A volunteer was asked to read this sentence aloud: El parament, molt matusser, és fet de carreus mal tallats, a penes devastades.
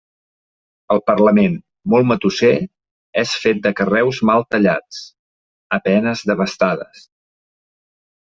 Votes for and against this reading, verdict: 0, 2, rejected